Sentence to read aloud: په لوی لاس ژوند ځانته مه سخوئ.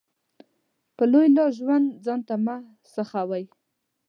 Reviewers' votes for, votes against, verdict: 2, 0, accepted